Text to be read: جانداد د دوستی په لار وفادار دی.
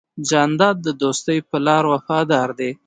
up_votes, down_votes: 2, 0